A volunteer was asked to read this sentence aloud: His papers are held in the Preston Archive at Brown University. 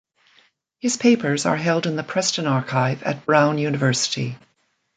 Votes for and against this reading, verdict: 2, 0, accepted